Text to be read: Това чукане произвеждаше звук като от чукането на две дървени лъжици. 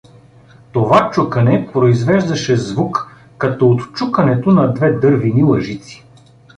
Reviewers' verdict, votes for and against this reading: accepted, 2, 0